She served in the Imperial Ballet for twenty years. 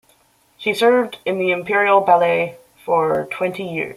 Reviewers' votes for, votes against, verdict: 0, 2, rejected